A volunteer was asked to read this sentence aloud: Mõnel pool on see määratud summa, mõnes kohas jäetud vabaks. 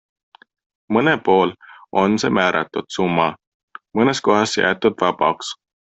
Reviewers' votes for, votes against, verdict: 2, 0, accepted